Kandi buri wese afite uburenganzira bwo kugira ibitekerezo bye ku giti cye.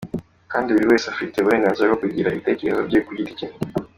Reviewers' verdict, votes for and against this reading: accepted, 2, 1